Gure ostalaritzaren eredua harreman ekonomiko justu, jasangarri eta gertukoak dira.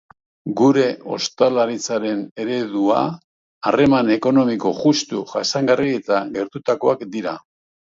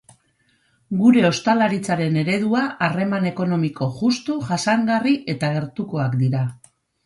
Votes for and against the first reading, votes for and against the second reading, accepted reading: 1, 2, 4, 0, second